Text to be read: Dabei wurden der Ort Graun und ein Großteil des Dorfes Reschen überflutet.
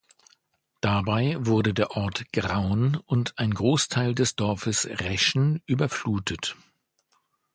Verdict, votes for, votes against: accepted, 2, 0